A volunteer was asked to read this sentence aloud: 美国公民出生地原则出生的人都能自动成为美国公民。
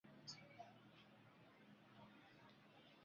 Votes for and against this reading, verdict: 0, 3, rejected